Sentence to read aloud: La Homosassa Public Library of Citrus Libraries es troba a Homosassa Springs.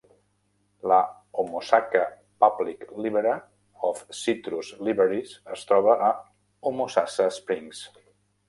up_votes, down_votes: 0, 2